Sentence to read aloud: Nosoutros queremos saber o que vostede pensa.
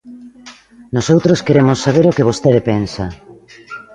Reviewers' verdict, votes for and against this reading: rejected, 1, 2